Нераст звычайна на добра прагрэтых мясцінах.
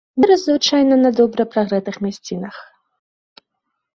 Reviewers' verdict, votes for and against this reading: rejected, 1, 2